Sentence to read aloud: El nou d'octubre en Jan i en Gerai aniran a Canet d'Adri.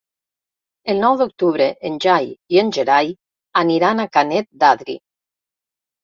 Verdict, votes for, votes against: rejected, 1, 3